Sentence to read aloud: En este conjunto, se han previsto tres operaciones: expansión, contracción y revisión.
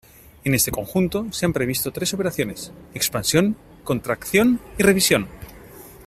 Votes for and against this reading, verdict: 2, 0, accepted